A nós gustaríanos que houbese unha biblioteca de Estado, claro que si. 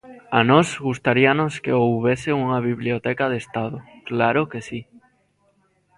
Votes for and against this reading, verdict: 2, 0, accepted